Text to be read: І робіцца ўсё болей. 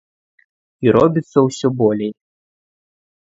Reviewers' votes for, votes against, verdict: 2, 0, accepted